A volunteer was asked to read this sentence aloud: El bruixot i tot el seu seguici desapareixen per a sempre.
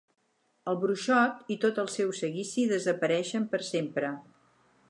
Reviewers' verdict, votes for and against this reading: rejected, 2, 6